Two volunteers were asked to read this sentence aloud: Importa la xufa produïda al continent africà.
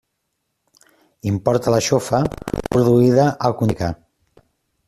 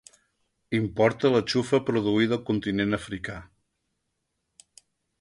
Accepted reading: second